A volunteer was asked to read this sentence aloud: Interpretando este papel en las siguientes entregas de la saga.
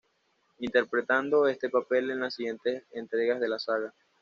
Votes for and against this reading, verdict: 2, 0, accepted